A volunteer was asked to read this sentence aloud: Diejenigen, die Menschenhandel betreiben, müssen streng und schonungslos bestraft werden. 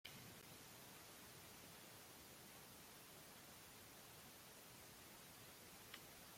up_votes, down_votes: 0, 2